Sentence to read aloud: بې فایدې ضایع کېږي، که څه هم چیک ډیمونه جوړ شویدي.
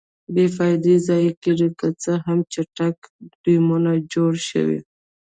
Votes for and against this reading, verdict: 0, 2, rejected